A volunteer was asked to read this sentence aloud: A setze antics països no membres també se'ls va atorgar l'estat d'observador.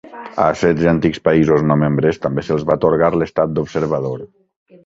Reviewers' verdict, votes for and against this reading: accepted, 3, 0